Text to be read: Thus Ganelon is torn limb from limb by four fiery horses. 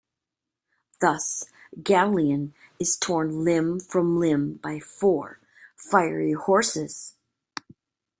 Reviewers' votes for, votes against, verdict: 1, 2, rejected